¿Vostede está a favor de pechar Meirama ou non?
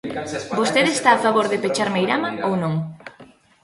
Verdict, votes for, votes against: rejected, 1, 2